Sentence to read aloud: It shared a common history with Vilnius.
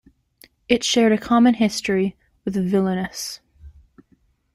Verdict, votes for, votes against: rejected, 0, 2